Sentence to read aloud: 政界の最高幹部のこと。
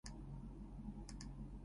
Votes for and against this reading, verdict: 1, 2, rejected